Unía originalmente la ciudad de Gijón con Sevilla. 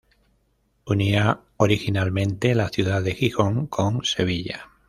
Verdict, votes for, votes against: rejected, 0, 2